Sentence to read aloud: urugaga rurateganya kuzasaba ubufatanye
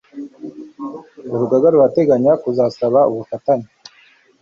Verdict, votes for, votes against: accepted, 2, 0